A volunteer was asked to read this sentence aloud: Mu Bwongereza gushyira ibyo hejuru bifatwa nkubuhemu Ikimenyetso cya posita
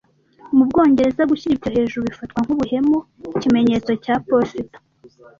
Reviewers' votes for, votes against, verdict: 1, 2, rejected